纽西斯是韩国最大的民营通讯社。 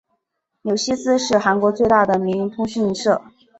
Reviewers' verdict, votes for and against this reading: accepted, 2, 0